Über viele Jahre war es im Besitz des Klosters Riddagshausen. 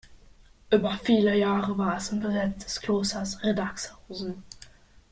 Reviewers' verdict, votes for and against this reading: rejected, 0, 2